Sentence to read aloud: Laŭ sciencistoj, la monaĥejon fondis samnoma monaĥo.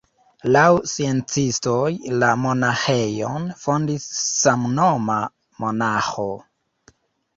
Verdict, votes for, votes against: rejected, 0, 2